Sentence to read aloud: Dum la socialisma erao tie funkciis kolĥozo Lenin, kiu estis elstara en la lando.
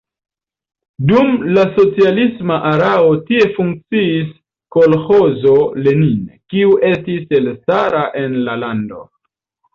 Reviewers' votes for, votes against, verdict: 0, 2, rejected